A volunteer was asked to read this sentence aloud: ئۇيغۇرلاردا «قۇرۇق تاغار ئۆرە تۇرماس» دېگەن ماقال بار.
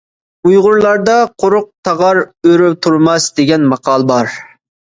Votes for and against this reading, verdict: 2, 0, accepted